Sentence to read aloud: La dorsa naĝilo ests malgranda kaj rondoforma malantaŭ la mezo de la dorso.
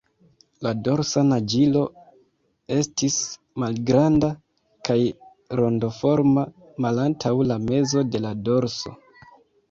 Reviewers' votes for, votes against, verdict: 0, 2, rejected